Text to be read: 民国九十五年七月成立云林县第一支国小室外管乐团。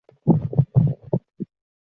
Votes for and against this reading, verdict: 2, 1, accepted